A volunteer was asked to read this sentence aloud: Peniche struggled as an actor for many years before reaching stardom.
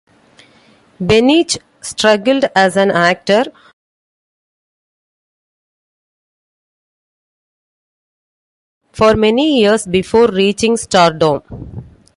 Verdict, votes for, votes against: accepted, 2, 1